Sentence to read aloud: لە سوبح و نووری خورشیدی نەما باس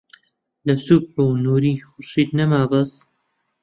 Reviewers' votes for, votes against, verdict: 0, 2, rejected